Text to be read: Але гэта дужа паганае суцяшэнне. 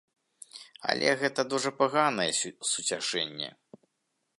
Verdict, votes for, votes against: rejected, 1, 2